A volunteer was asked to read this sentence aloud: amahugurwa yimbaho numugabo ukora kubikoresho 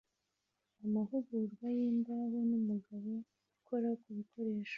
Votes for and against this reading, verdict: 2, 1, accepted